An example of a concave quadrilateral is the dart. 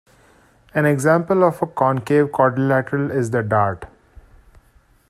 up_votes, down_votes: 1, 2